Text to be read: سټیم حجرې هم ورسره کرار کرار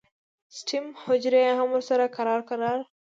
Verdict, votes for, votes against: accepted, 2, 0